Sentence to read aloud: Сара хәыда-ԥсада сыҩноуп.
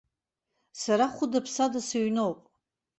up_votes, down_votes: 2, 0